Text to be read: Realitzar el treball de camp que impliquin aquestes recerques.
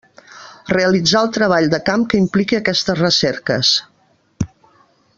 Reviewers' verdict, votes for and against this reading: rejected, 0, 2